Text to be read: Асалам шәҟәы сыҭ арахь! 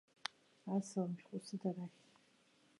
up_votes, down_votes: 1, 2